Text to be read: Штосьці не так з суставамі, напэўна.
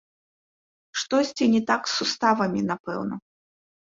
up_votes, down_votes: 2, 0